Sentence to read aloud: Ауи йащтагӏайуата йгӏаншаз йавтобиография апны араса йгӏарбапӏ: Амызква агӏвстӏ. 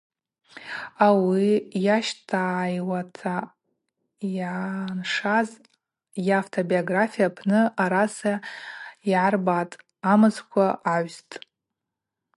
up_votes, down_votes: 2, 2